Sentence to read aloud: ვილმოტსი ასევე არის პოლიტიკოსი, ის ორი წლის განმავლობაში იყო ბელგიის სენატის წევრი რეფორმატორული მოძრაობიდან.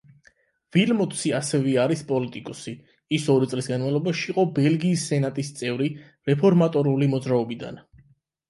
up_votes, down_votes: 8, 0